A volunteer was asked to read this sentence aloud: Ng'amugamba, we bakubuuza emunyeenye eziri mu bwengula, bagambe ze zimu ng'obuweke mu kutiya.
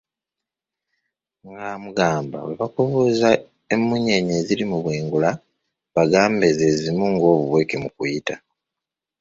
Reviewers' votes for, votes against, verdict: 0, 2, rejected